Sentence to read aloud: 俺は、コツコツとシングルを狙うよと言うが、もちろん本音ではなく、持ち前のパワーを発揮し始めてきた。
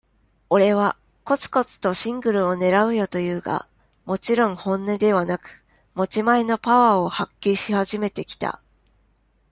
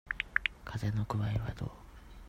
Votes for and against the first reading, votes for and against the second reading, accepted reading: 2, 0, 0, 2, first